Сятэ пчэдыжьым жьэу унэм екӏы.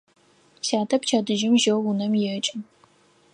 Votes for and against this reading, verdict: 4, 0, accepted